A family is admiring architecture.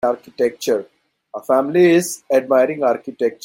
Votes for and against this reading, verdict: 0, 2, rejected